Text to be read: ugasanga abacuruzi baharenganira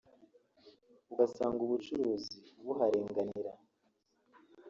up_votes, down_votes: 0, 3